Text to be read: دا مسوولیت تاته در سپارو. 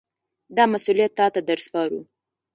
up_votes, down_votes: 0, 2